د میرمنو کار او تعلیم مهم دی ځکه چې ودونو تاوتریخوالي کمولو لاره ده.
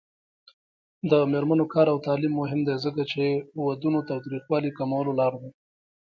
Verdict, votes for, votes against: accepted, 2, 1